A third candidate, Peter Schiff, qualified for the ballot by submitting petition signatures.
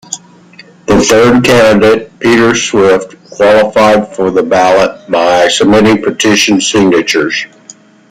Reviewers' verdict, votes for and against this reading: rejected, 0, 2